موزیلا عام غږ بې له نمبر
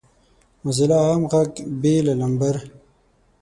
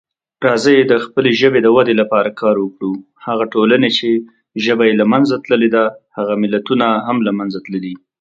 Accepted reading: first